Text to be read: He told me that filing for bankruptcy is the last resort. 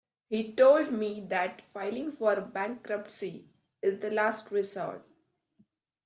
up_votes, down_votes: 2, 0